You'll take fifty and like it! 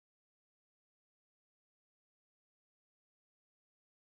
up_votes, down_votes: 0, 2